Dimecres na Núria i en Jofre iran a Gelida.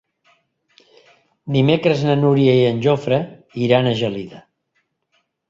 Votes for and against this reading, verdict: 3, 0, accepted